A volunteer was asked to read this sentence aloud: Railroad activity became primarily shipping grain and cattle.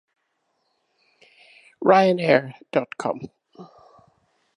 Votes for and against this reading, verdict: 0, 2, rejected